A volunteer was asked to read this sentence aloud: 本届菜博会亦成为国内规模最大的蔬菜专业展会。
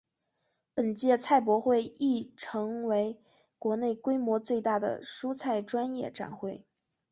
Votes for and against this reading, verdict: 2, 0, accepted